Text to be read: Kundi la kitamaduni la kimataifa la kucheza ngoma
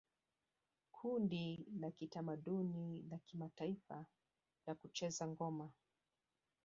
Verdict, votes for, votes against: rejected, 1, 2